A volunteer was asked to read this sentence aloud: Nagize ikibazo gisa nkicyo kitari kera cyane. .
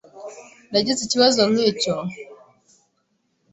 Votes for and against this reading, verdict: 0, 2, rejected